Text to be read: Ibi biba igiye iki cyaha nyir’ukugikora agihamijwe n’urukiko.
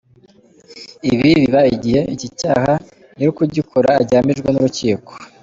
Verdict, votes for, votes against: accepted, 2, 0